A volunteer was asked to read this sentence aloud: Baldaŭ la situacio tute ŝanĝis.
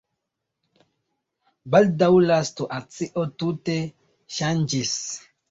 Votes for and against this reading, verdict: 1, 2, rejected